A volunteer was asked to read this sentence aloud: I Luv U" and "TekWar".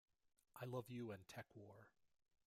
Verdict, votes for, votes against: accepted, 2, 1